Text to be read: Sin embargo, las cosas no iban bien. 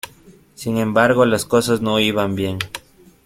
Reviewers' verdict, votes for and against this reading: accepted, 2, 0